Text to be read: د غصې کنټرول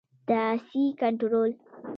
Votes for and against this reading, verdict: 0, 2, rejected